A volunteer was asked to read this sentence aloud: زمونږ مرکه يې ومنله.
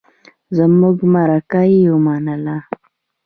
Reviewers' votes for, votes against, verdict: 1, 2, rejected